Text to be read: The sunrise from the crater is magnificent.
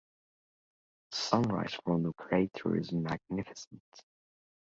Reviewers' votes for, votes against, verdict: 2, 0, accepted